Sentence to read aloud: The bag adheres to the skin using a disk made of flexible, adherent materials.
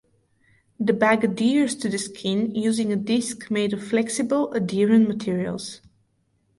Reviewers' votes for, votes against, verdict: 2, 0, accepted